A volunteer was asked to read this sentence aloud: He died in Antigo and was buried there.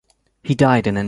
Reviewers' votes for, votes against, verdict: 0, 2, rejected